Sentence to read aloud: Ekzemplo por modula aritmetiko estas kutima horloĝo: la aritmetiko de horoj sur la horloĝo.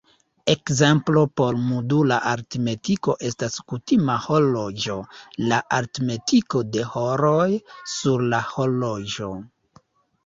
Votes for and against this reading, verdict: 1, 2, rejected